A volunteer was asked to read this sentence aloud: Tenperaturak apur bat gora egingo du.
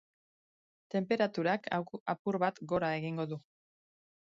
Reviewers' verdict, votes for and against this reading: rejected, 1, 2